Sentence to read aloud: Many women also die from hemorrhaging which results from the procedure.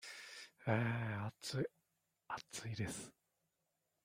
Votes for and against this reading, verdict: 0, 2, rejected